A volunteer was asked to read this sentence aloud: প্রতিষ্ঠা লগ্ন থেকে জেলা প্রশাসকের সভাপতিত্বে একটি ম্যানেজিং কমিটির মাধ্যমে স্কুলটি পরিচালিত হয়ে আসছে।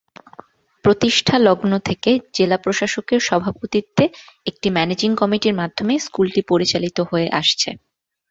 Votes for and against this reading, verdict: 4, 0, accepted